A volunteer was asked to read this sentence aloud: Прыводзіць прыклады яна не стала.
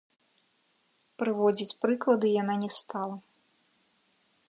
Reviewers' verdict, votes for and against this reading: accepted, 2, 0